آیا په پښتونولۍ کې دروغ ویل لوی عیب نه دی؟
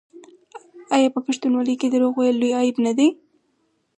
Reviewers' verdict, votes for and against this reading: accepted, 4, 0